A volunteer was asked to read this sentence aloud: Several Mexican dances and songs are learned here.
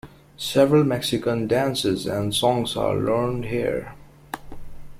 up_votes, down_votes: 2, 0